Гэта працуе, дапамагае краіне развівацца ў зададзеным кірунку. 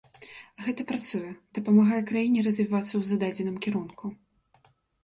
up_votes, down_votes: 2, 0